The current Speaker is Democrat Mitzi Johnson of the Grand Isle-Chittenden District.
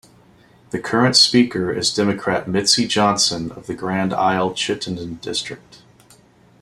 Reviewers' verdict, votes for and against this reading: accepted, 2, 0